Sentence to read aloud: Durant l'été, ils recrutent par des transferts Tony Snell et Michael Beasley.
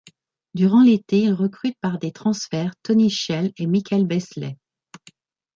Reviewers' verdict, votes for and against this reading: accepted, 2, 0